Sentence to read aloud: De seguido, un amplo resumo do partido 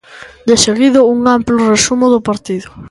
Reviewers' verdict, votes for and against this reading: accepted, 2, 0